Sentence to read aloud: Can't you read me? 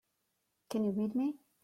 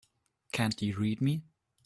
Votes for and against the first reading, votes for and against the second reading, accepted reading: 0, 3, 2, 0, second